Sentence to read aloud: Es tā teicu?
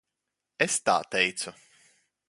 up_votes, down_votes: 1, 2